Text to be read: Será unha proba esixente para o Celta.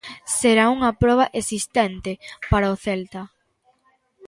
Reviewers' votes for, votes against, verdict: 0, 4, rejected